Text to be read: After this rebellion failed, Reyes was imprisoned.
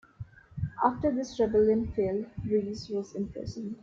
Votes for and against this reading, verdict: 2, 0, accepted